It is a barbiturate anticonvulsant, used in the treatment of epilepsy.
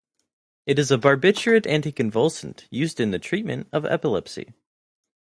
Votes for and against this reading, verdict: 2, 0, accepted